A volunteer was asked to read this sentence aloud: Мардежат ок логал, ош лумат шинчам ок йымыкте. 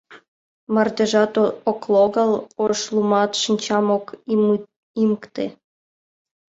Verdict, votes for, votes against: rejected, 0, 2